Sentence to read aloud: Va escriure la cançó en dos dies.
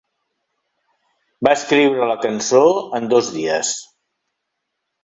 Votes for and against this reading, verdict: 3, 0, accepted